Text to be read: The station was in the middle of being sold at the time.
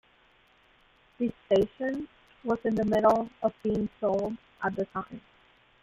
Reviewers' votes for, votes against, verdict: 0, 2, rejected